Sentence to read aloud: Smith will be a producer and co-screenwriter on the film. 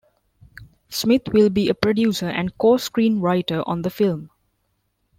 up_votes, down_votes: 2, 0